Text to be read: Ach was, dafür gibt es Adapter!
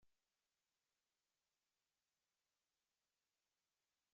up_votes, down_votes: 0, 2